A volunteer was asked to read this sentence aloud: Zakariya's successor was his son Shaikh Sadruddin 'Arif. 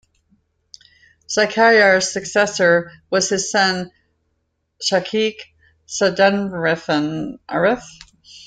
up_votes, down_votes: 0, 2